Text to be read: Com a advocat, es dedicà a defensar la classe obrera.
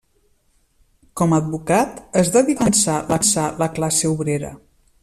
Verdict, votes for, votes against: rejected, 0, 2